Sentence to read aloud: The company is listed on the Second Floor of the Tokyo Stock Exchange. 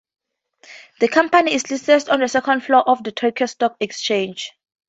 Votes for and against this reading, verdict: 2, 0, accepted